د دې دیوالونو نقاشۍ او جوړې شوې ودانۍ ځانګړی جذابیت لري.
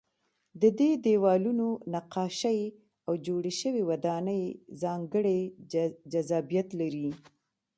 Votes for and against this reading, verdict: 2, 0, accepted